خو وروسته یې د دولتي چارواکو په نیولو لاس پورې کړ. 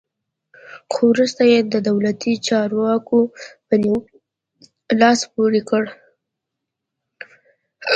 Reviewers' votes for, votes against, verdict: 2, 0, accepted